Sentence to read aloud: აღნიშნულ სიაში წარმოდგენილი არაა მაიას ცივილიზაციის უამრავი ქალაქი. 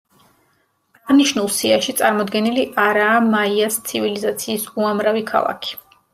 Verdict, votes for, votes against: accepted, 2, 0